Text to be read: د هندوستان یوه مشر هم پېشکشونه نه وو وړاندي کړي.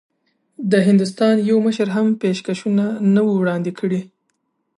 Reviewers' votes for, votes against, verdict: 0, 2, rejected